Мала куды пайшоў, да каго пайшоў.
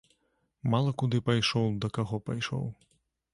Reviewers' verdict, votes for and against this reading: accepted, 2, 0